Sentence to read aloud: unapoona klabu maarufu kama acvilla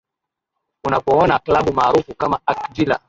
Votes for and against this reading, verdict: 8, 1, accepted